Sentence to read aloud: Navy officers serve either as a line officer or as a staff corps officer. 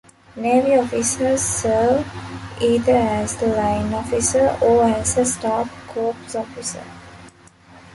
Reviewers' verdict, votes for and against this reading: rejected, 1, 2